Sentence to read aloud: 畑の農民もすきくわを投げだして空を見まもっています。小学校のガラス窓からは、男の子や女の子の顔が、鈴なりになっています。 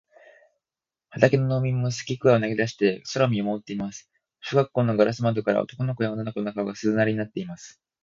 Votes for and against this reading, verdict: 3, 0, accepted